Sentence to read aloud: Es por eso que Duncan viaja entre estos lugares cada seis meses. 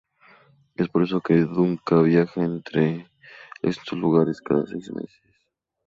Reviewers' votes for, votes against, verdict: 0, 2, rejected